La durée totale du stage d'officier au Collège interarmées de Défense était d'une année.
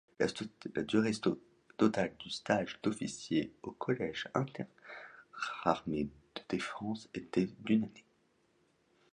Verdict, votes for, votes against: rejected, 0, 2